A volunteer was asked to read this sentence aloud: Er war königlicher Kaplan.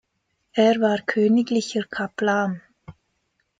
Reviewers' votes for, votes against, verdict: 2, 0, accepted